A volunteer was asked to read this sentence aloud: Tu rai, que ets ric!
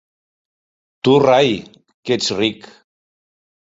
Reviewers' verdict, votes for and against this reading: accepted, 2, 0